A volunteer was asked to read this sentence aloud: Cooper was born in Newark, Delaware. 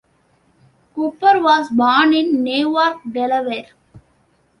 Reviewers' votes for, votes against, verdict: 2, 1, accepted